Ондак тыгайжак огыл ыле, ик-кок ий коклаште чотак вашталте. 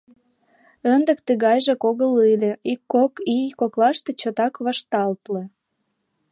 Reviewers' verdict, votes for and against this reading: rejected, 0, 2